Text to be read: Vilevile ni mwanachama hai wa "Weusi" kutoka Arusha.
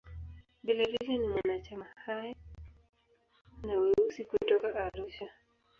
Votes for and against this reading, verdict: 1, 2, rejected